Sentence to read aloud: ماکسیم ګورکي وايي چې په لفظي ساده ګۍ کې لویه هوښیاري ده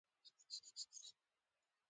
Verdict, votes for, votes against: rejected, 0, 2